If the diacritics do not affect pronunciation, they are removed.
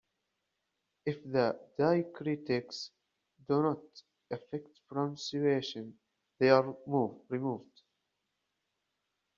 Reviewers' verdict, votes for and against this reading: rejected, 0, 2